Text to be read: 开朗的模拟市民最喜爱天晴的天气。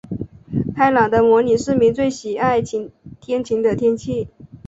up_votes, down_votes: 2, 0